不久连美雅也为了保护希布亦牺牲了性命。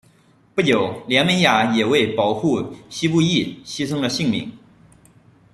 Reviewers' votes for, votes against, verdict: 1, 2, rejected